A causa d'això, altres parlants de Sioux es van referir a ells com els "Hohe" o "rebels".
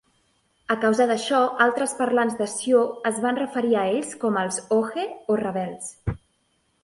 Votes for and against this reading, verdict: 4, 2, accepted